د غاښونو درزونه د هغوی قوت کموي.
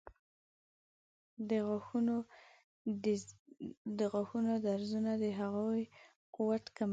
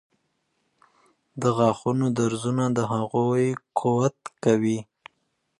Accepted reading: first